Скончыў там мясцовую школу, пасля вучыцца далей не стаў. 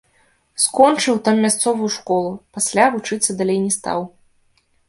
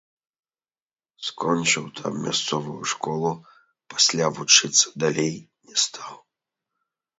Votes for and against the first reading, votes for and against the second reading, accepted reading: 2, 0, 0, 3, first